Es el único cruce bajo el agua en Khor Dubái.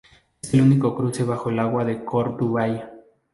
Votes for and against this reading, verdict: 0, 2, rejected